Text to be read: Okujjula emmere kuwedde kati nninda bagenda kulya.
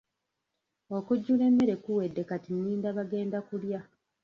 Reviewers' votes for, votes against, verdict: 1, 2, rejected